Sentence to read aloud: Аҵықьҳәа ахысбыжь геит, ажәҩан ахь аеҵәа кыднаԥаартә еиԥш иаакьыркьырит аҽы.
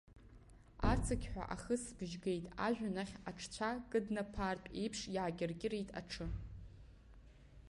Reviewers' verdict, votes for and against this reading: rejected, 2, 4